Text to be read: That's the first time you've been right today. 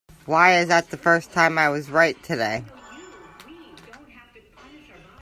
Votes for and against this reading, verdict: 0, 2, rejected